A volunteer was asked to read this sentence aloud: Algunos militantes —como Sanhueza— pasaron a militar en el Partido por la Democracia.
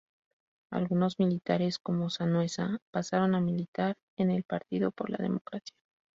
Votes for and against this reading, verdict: 0, 4, rejected